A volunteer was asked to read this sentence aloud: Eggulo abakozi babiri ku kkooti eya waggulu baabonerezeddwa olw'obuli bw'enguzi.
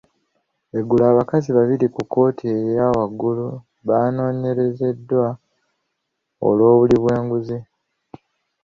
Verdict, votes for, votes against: rejected, 1, 2